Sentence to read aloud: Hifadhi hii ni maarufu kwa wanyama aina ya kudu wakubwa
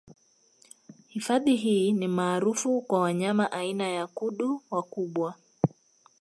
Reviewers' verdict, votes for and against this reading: accepted, 2, 0